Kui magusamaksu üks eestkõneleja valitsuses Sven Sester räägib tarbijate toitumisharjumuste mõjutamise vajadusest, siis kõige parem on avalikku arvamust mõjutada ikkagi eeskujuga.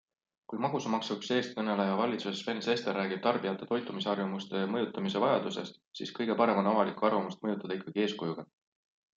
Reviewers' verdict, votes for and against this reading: accepted, 2, 0